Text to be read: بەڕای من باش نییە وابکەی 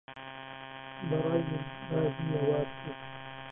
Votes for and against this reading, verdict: 0, 2, rejected